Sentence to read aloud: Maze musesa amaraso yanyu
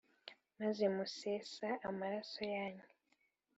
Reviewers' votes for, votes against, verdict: 2, 0, accepted